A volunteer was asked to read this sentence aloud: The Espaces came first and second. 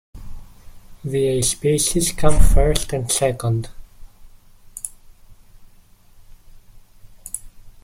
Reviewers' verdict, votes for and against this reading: accepted, 2, 0